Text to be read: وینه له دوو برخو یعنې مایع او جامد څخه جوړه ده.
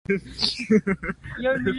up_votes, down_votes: 2, 0